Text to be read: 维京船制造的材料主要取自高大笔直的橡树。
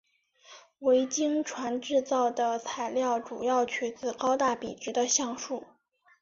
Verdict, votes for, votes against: rejected, 1, 2